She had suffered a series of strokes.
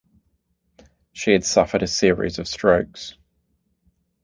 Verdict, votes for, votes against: accepted, 2, 0